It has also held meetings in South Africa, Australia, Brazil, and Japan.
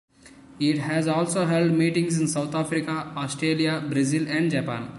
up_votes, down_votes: 3, 1